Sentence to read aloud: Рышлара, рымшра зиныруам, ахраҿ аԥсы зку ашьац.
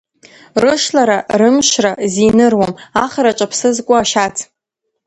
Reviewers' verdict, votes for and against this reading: accepted, 3, 1